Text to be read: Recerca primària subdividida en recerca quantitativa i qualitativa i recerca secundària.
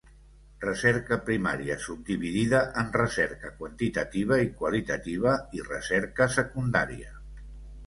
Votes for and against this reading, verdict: 2, 0, accepted